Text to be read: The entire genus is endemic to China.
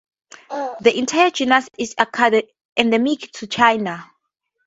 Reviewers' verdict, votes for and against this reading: rejected, 0, 2